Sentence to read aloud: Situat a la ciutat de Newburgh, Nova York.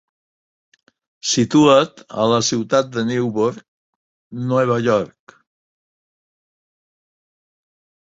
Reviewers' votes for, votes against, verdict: 1, 2, rejected